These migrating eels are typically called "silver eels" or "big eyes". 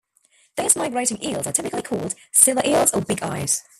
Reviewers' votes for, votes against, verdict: 0, 2, rejected